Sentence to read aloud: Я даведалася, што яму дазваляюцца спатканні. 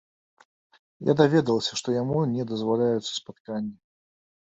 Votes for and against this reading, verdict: 1, 2, rejected